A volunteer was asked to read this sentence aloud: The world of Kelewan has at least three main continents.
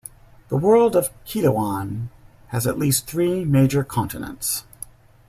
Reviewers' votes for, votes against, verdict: 0, 2, rejected